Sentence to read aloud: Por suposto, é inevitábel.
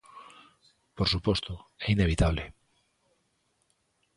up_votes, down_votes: 0, 2